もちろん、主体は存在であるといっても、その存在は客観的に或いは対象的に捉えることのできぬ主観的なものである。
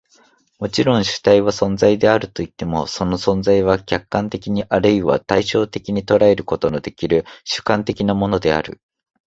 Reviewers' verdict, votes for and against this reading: rejected, 0, 2